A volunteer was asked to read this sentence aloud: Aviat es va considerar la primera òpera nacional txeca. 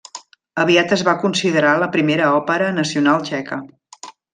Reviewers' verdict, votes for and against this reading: accepted, 2, 0